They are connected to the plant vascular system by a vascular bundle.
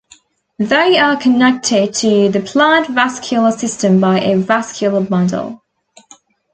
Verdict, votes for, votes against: accepted, 2, 0